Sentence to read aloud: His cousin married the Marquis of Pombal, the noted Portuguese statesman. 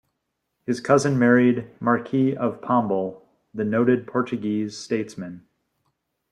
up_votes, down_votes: 2, 3